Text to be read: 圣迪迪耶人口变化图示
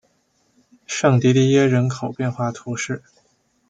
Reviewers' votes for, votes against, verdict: 2, 0, accepted